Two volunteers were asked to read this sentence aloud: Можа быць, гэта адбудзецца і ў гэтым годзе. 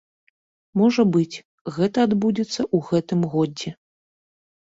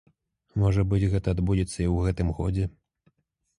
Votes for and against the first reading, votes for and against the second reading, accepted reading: 1, 2, 2, 0, second